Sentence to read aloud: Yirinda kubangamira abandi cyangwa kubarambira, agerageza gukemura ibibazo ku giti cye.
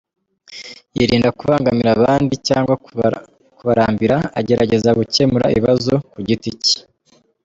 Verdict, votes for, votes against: rejected, 1, 2